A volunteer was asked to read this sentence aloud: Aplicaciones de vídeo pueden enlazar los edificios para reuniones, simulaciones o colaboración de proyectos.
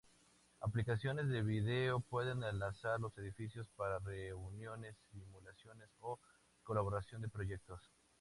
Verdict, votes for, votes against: accepted, 2, 0